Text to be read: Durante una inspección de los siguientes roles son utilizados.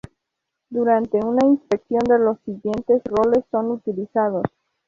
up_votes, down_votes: 2, 0